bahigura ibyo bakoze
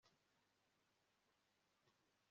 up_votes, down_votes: 2, 0